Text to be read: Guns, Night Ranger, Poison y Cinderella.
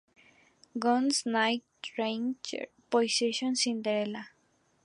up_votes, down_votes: 0, 2